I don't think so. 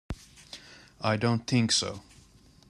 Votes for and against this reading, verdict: 2, 1, accepted